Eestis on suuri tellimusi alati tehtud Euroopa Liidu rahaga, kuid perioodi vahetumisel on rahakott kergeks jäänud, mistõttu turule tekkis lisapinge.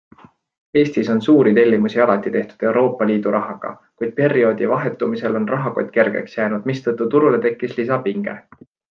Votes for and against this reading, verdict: 3, 0, accepted